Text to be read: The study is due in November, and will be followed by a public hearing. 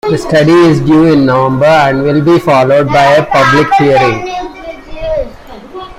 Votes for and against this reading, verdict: 2, 0, accepted